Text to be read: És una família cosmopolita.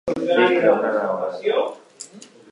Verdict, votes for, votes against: rejected, 0, 2